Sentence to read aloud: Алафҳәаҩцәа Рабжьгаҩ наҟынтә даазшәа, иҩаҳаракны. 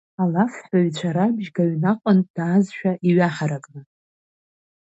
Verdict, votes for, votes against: rejected, 0, 2